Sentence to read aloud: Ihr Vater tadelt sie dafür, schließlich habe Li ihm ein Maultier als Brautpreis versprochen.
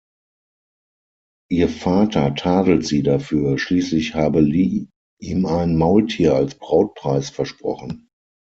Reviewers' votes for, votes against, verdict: 0, 6, rejected